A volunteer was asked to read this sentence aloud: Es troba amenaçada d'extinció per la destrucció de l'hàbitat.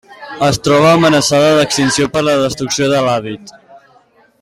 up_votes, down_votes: 0, 2